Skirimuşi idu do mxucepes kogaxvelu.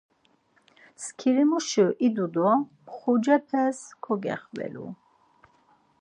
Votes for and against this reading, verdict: 2, 4, rejected